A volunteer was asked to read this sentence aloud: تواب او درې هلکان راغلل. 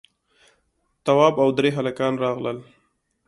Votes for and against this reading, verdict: 2, 0, accepted